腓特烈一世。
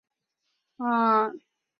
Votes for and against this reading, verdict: 1, 5, rejected